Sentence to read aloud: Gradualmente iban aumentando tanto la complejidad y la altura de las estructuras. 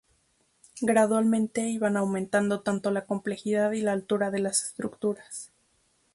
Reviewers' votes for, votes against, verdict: 2, 0, accepted